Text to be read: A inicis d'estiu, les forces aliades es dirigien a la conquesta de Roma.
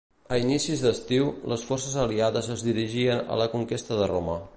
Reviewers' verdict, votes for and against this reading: rejected, 1, 2